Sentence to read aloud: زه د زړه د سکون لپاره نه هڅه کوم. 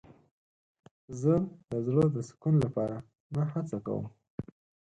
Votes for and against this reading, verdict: 2, 4, rejected